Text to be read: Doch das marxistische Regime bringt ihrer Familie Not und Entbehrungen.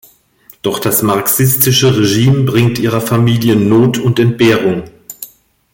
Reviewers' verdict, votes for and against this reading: rejected, 1, 2